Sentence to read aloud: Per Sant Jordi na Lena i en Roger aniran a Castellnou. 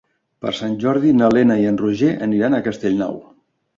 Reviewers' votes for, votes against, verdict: 3, 0, accepted